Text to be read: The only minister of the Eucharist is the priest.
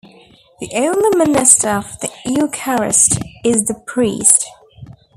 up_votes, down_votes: 1, 2